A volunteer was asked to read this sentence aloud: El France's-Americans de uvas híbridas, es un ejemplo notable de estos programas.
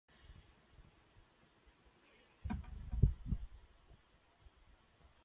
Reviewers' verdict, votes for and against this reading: rejected, 0, 2